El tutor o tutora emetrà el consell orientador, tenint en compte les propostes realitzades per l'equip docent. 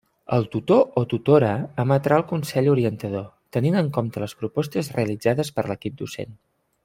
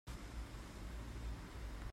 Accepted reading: first